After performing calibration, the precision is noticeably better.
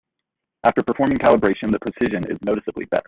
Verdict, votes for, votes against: rejected, 0, 2